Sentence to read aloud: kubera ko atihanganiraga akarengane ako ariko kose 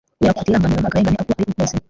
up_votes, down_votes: 1, 2